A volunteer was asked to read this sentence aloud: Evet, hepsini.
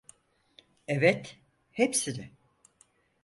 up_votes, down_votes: 4, 0